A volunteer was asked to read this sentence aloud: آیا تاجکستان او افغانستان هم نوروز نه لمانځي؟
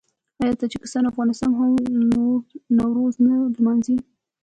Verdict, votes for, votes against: accepted, 2, 1